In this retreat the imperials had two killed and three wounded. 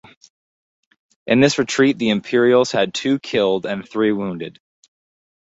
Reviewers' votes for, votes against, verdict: 2, 0, accepted